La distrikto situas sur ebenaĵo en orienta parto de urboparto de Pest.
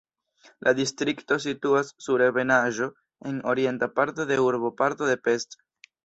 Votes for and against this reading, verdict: 2, 0, accepted